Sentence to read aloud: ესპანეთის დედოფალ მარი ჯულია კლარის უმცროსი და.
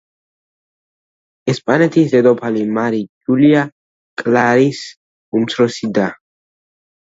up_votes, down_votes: 2, 1